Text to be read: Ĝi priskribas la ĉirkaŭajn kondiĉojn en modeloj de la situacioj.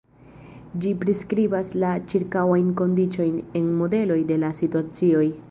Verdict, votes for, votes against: rejected, 0, 2